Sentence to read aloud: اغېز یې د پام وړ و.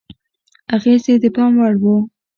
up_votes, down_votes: 2, 1